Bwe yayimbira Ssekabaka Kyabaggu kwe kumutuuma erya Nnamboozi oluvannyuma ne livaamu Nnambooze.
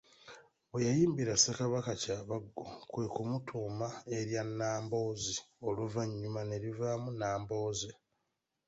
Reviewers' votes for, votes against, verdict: 1, 2, rejected